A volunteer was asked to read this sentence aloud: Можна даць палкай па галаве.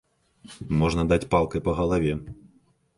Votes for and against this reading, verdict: 2, 0, accepted